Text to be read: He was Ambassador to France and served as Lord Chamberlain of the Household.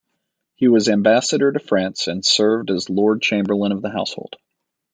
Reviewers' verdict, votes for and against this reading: accepted, 2, 0